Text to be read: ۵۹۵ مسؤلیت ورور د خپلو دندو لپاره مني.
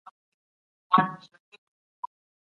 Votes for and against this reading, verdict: 0, 2, rejected